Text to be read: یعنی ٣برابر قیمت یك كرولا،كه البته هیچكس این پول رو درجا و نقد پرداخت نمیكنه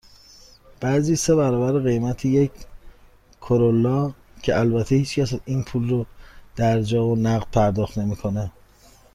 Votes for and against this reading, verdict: 0, 2, rejected